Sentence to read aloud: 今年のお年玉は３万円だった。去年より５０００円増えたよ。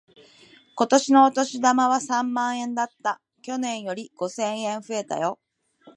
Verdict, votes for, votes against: rejected, 0, 2